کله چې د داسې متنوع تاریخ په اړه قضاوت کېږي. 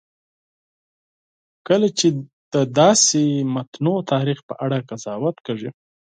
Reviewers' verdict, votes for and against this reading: accepted, 4, 0